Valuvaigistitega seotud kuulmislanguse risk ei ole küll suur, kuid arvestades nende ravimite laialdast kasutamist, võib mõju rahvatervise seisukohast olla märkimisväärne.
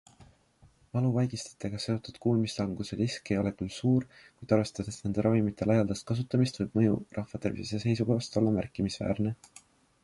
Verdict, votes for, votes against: accepted, 2, 0